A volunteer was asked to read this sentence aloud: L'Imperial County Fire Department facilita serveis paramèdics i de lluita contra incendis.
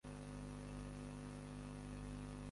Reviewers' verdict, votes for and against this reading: rejected, 0, 2